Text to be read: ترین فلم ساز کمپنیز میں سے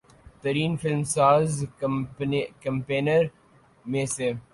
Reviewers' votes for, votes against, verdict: 0, 2, rejected